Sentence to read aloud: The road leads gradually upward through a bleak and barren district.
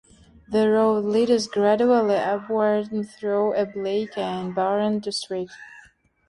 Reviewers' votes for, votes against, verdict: 0, 2, rejected